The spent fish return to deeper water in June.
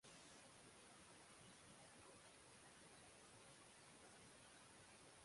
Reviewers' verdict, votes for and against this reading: rejected, 0, 6